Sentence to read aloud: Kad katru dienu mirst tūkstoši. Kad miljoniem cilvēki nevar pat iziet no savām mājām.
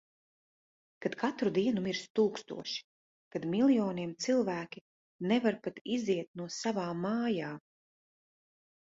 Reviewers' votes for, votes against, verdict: 2, 0, accepted